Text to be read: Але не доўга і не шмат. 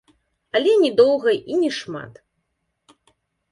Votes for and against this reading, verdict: 2, 0, accepted